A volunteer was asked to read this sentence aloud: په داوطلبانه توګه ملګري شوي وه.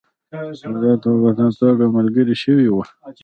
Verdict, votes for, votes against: accepted, 2, 0